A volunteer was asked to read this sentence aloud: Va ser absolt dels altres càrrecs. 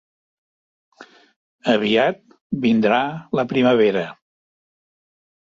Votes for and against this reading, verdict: 0, 2, rejected